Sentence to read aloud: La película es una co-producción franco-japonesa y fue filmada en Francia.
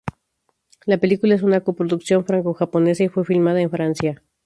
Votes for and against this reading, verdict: 2, 0, accepted